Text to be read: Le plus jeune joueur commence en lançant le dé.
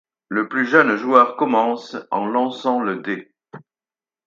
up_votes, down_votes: 4, 0